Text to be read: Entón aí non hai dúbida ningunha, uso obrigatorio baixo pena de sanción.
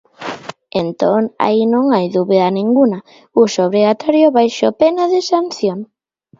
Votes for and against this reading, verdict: 0, 2, rejected